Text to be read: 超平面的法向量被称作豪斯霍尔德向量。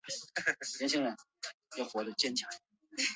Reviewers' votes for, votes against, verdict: 0, 4, rejected